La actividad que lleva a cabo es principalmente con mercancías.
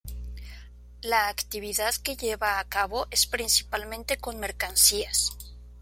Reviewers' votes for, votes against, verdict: 2, 0, accepted